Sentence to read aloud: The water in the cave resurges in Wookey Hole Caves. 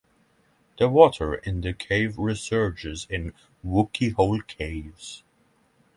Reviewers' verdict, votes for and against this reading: accepted, 6, 0